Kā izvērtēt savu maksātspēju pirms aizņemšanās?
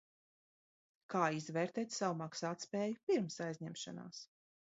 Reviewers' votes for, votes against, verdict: 1, 2, rejected